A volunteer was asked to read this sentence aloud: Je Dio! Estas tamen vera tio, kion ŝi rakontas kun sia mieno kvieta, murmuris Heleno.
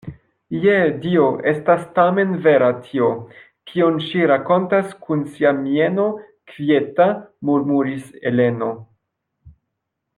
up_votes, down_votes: 2, 1